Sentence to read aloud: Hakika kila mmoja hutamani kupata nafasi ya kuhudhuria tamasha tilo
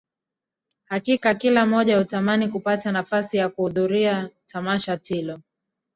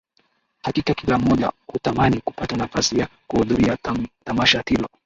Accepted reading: first